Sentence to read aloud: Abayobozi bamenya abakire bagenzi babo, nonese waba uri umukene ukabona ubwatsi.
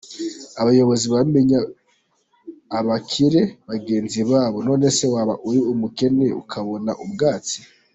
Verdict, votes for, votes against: accepted, 2, 0